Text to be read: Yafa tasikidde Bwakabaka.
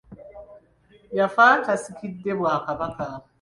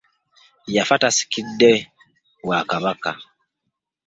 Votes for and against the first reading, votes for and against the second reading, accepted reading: 2, 0, 1, 2, first